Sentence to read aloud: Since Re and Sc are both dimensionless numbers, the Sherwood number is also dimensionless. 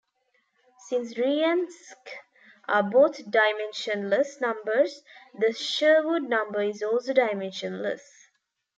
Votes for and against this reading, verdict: 0, 2, rejected